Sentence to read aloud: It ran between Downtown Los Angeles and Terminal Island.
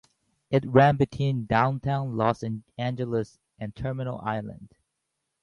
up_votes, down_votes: 0, 2